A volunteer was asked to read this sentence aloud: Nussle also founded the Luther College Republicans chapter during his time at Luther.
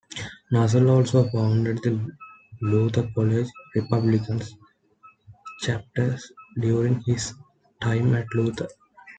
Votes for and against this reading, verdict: 2, 0, accepted